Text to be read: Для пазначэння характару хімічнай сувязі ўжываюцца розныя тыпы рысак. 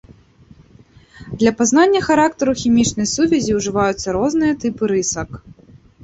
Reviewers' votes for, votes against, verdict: 0, 2, rejected